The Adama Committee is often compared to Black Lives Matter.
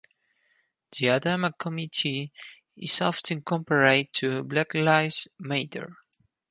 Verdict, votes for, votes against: rejected, 2, 4